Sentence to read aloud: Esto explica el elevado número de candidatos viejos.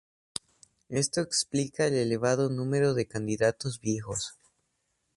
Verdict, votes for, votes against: accepted, 2, 0